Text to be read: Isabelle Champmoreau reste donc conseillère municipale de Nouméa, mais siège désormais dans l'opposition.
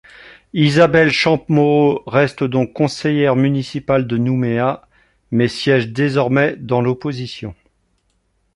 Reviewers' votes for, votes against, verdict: 0, 2, rejected